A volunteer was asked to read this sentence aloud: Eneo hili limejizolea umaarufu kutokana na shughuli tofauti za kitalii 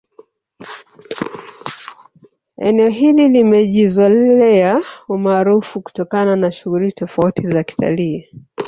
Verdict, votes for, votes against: rejected, 0, 2